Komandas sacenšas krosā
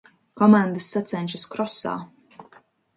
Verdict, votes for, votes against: accepted, 2, 0